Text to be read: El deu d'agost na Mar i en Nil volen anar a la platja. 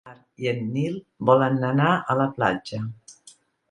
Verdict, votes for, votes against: rejected, 0, 2